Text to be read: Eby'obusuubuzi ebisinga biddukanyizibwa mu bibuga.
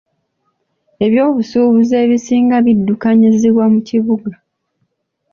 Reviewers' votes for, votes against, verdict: 2, 0, accepted